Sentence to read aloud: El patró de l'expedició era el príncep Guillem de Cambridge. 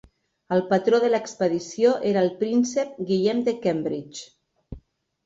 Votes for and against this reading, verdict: 3, 0, accepted